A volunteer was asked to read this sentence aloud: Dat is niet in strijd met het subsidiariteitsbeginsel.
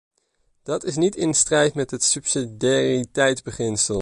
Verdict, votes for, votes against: rejected, 1, 2